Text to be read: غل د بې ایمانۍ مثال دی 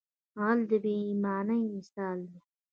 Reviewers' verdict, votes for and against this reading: accepted, 2, 0